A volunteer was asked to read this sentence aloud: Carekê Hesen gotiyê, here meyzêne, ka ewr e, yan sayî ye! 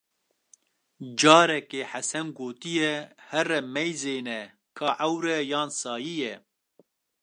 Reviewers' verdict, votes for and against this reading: accepted, 2, 0